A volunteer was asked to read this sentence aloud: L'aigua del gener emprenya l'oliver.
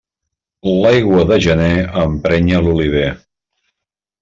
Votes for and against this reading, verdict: 1, 2, rejected